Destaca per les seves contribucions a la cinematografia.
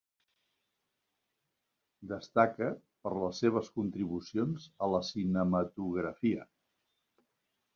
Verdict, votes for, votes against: accepted, 3, 0